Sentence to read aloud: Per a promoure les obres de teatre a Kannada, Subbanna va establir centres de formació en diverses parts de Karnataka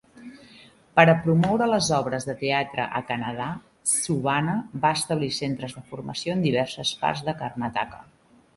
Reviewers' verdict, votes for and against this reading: accepted, 2, 0